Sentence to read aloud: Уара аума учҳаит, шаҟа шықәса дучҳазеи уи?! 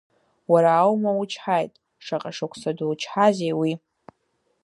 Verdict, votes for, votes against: accepted, 2, 0